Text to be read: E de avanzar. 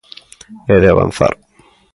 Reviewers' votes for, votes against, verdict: 2, 0, accepted